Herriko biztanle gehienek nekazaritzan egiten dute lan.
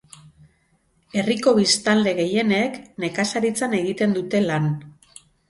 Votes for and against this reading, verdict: 6, 0, accepted